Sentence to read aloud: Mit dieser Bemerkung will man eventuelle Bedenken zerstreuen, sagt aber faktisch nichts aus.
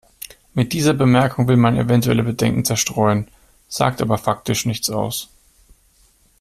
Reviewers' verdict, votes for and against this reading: accepted, 2, 0